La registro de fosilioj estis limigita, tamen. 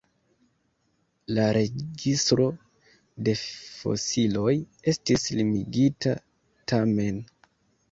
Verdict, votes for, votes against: rejected, 0, 2